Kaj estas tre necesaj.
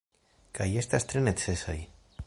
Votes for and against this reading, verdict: 2, 1, accepted